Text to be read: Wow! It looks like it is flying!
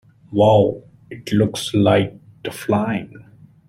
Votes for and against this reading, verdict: 0, 2, rejected